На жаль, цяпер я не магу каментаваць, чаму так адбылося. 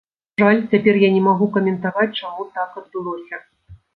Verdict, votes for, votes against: rejected, 0, 2